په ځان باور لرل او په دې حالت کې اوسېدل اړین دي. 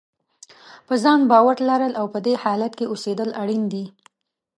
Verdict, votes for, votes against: accepted, 2, 0